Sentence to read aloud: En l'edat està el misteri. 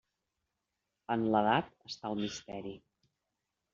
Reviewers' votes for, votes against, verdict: 3, 0, accepted